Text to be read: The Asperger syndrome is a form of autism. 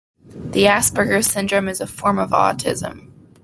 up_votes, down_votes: 2, 0